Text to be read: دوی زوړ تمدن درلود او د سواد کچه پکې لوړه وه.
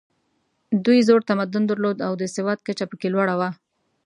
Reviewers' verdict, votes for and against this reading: accepted, 2, 0